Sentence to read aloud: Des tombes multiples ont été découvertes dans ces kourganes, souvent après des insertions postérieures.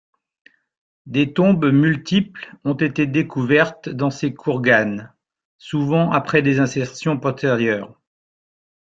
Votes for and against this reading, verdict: 0, 2, rejected